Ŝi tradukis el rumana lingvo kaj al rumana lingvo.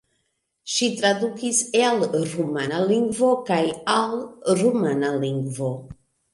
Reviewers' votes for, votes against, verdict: 0, 2, rejected